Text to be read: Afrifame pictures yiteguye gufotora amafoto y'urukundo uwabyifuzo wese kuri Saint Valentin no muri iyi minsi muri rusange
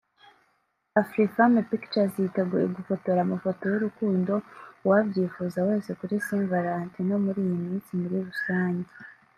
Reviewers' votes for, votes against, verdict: 1, 2, rejected